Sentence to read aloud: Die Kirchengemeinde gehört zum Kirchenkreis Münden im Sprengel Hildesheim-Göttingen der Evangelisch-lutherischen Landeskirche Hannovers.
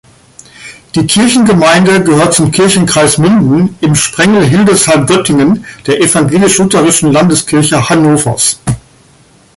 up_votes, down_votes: 3, 2